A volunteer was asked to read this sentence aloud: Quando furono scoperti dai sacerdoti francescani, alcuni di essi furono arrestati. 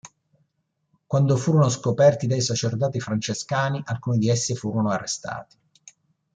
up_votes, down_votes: 2, 0